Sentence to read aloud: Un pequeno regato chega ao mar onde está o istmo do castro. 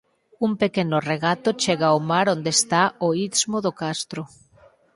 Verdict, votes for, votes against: rejected, 0, 4